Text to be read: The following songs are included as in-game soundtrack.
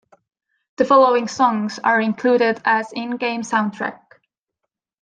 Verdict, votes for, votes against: accepted, 2, 0